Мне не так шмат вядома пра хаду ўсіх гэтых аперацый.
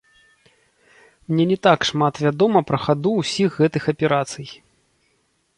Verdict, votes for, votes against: rejected, 1, 2